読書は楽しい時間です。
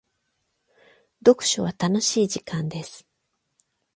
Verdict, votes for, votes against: accepted, 12, 4